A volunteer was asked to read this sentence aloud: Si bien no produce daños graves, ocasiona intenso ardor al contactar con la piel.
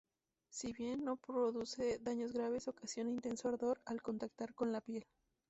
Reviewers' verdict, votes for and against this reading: rejected, 0, 4